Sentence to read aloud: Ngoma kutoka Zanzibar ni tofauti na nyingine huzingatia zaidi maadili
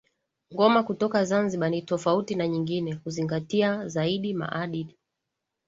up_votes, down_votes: 2, 0